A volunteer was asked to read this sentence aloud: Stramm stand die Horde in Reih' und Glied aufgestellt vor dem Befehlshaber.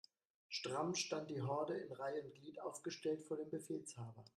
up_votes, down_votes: 0, 2